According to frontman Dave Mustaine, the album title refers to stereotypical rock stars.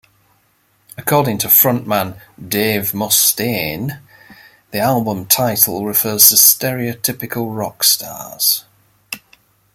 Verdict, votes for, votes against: rejected, 1, 2